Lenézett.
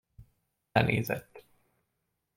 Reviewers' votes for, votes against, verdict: 2, 0, accepted